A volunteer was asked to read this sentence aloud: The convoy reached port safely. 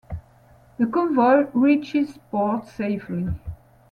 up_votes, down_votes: 0, 2